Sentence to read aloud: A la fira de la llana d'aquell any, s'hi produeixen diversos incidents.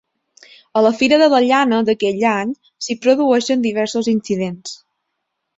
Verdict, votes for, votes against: accepted, 3, 0